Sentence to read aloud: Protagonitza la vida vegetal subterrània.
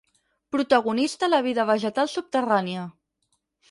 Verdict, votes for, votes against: rejected, 2, 4